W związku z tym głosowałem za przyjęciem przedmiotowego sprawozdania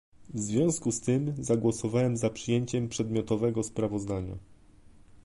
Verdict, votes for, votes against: rejected, 0, 2